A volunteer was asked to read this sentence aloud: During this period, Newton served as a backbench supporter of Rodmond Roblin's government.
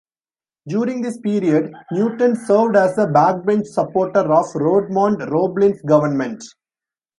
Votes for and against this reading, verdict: 1, 2, rejected